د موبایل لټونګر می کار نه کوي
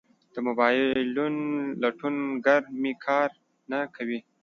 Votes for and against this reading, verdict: 1, 2, rejected